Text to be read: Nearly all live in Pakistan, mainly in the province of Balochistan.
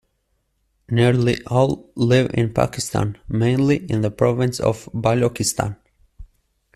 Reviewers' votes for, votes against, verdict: 2, 1, accepted